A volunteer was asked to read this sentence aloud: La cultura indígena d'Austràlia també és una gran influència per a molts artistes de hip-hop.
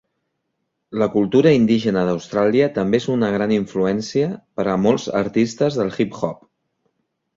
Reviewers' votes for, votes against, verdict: 1, 2, rejected